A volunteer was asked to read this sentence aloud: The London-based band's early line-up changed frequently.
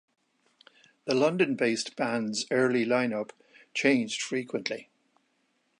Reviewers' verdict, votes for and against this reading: accepted, 2, 0